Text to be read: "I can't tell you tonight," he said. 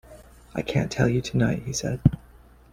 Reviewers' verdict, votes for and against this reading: accepted, 2, 1